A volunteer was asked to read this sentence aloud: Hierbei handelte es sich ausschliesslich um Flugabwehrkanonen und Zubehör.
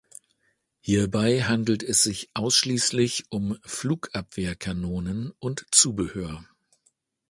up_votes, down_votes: 1, 3